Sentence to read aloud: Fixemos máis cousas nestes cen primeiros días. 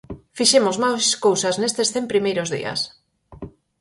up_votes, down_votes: 2, 2